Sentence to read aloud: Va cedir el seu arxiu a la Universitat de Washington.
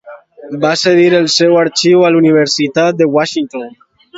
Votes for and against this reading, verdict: 2, 0, accepted